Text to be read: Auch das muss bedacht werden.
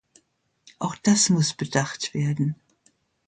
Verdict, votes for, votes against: accepted, 2, 0